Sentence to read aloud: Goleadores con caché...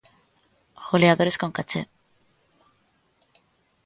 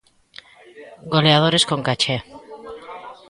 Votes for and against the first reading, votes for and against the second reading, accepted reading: 2, 0, 1, 2, first